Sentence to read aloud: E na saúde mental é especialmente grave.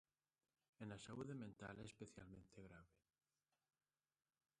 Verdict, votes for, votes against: rejected, 0, 2